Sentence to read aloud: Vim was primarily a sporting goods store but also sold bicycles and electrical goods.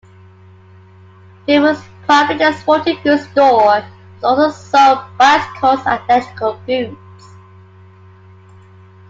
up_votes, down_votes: 0, 2